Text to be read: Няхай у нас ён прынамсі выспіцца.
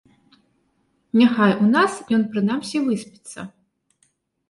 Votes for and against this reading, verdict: 2, 0, accepted